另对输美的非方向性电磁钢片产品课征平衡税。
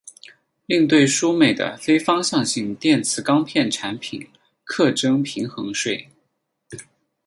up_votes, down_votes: 6, 0